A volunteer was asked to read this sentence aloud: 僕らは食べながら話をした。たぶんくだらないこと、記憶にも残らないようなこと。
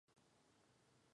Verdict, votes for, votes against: rejected, 3, 9